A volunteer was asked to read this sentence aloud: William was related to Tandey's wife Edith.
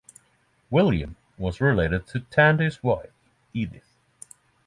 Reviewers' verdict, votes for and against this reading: accepted, 6, 0